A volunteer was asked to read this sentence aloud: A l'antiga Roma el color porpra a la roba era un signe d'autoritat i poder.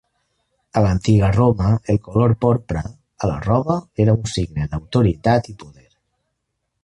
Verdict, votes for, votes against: rejected, 0, 2